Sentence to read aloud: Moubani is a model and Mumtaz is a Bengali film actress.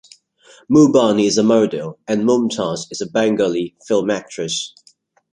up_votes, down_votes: 0, 2